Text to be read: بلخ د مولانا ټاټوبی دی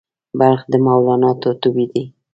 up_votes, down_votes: 1, 2